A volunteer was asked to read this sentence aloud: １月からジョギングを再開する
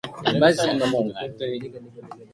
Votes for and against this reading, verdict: 0, 2, rejected